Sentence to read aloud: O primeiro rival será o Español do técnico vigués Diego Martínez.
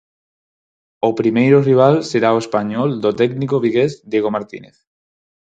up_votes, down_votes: 4, 0